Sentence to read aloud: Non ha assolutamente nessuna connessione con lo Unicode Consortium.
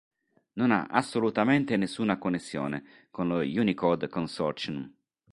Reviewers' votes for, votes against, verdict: 2, 0, accepted